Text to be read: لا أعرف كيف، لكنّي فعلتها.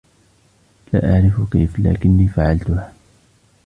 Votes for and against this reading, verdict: 1, 2, rejected